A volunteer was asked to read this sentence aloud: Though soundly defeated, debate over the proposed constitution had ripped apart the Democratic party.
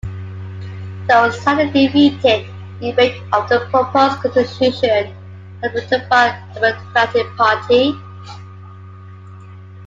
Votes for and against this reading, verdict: 0, 2, rejected